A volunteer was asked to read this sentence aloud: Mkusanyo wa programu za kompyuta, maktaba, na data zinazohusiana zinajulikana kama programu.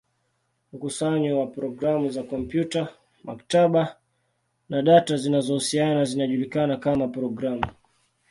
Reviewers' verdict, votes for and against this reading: accepted, 2, 0